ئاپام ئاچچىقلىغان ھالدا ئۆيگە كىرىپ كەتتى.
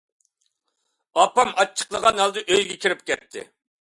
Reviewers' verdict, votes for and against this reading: accepted, 2, 0